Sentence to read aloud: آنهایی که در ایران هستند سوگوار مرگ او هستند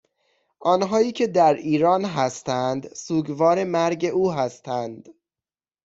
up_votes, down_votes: 2, 0